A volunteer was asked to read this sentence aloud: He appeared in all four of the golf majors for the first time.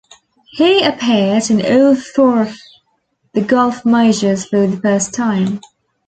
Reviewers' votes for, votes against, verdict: 0, 2, rejected